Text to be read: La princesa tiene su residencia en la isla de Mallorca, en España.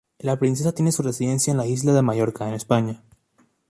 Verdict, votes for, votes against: accepted, 2, 0